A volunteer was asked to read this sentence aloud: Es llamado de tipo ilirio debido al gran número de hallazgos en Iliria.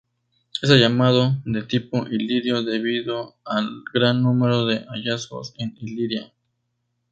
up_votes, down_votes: 8, 0